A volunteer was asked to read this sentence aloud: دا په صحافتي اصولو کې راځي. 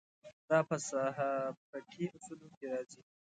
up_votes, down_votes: 2, 0